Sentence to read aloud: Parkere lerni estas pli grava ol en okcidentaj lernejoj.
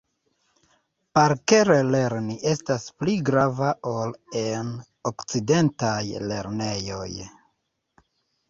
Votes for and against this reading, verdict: 2, 0, accepted